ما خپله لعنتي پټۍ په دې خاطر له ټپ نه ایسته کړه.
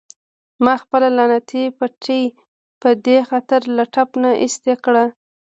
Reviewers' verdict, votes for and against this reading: accepted, 2, 0